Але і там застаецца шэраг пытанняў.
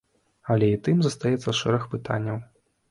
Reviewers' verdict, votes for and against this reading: rejected, 0, 2